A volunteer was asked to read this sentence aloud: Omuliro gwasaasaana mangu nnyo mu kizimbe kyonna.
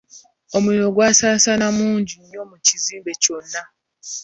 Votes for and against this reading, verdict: 2, 0, accepted